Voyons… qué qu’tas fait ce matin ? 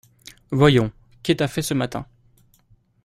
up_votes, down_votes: 0, 2